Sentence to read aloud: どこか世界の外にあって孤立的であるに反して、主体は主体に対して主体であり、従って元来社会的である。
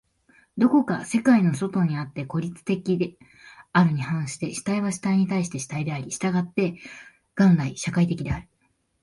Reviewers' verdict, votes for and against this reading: accepted, 2, 0